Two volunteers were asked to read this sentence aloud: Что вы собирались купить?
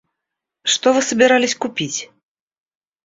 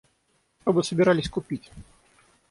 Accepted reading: first